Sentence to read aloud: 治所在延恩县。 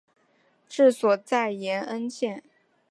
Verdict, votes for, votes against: accepted, 5, 0